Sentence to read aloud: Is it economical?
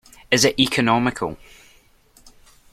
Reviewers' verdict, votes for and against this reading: accepted, 2, 0